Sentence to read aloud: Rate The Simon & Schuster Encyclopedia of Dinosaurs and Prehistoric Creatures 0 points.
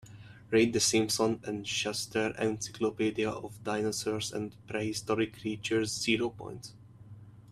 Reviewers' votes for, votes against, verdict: 0, 2, rejected